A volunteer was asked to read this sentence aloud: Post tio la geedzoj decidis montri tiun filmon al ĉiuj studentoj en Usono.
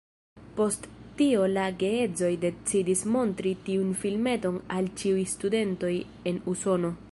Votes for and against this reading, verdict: 1, 2, rejected